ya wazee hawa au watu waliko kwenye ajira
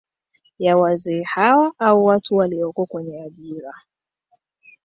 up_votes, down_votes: 2, 1